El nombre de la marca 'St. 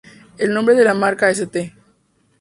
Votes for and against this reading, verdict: 2, 2, rejected